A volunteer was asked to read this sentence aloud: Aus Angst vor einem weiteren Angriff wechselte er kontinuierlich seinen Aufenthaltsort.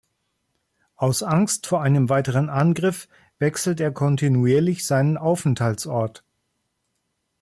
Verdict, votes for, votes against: rejected, 1, 2